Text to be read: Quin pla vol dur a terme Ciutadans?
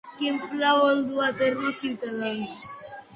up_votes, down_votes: 0, 2